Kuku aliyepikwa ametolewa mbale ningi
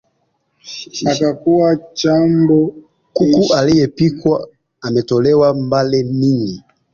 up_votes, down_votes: 1, 3